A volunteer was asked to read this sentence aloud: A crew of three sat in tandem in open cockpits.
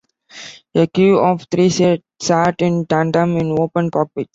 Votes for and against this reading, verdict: 0, 2, rejected